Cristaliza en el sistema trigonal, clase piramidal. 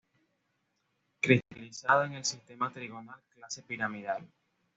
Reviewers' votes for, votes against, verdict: 1, 2, rejected